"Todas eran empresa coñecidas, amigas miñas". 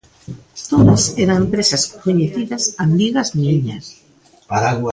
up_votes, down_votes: 0, 2